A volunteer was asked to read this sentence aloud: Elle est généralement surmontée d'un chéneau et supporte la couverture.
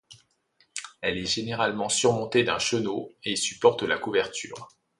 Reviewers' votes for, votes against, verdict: 1, 2, rejected